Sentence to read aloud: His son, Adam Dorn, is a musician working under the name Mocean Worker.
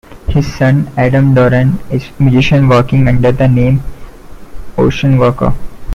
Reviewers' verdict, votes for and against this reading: accepted, 2, 1